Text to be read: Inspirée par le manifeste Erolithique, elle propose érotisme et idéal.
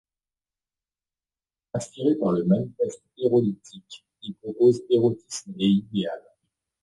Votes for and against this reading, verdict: 2, 0, accepted